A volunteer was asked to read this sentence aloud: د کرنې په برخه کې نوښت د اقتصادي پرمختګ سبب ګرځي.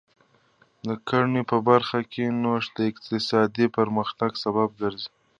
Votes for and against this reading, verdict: 2, 0, accepted